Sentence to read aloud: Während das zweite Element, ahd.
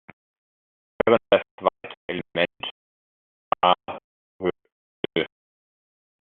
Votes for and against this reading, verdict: 0, 2, rejected